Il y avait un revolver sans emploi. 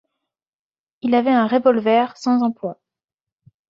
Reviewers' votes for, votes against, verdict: 0, 2, rejected